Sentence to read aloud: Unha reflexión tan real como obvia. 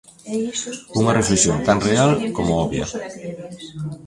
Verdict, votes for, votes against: rejected, 0, 2